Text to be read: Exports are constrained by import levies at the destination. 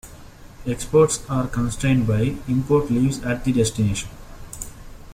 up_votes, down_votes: 0, 2